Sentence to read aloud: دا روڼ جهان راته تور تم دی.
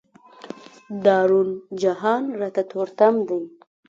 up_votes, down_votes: 2, 0